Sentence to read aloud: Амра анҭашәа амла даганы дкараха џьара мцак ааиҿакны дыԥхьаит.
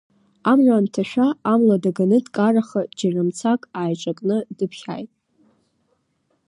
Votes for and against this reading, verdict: 2, 0, accepted